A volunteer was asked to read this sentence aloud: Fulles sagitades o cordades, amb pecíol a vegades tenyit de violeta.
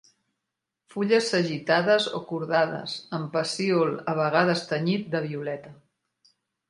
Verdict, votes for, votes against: accepted, 2, 0